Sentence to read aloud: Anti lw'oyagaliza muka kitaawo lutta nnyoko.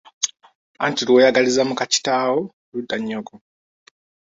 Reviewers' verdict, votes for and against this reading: accepted, 3, 0